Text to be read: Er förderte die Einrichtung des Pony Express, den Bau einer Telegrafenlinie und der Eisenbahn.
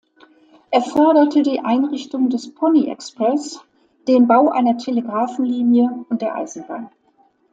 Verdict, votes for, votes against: accepted, 2, 0